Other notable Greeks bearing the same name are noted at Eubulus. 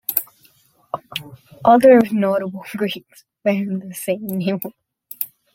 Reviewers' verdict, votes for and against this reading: rejected, 0, 2